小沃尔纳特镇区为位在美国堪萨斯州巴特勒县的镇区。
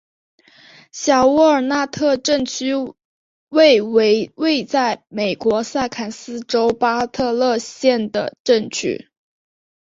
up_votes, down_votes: 4, 0